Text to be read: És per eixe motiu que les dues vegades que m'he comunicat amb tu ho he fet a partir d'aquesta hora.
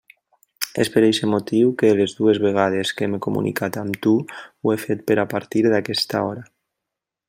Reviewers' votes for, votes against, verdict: 1, 2, rejected